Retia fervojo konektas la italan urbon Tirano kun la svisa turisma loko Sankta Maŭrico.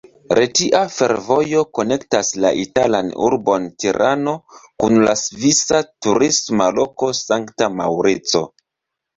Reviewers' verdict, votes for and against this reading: rejected, 1, 2